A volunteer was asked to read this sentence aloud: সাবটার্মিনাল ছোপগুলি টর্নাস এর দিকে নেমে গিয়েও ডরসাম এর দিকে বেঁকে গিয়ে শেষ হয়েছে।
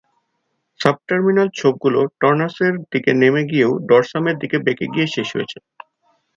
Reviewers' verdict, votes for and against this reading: accepted, 4, 0